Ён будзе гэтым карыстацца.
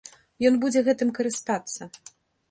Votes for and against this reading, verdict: 2, 0, accepted